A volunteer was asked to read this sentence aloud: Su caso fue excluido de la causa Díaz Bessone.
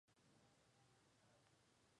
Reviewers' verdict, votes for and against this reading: rejected, 0, 2